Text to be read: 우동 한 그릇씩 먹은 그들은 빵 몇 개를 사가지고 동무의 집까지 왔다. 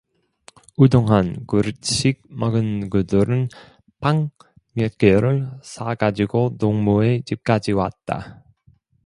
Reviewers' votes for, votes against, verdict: 1, 2, rejected